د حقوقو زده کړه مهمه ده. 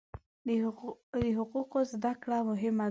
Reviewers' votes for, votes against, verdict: 1, 2, rejected